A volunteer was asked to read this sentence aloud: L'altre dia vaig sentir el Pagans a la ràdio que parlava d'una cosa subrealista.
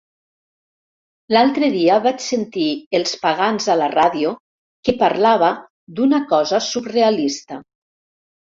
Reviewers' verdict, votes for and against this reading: rejected, 1, 2